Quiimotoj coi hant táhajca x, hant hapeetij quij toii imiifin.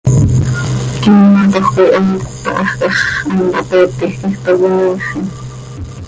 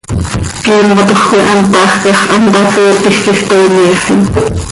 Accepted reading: first